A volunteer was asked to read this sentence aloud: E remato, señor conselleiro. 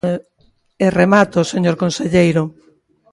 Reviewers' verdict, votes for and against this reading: rejected, 0, 2